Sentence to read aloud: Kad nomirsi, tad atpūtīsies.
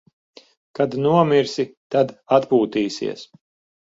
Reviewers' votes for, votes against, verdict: 11, 0, accepted